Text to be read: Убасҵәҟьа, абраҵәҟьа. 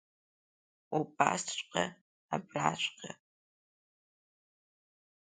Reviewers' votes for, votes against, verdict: 0, 2, rejected